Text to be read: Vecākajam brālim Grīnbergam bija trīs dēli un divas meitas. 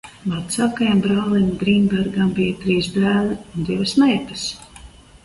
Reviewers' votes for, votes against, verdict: 2, 0, accepted